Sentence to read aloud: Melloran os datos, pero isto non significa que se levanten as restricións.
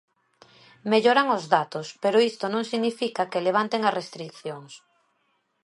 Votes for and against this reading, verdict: 0, 2, rejected